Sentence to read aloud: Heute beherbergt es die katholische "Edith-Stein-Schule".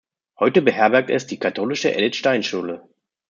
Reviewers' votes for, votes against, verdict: 0, 2, rejected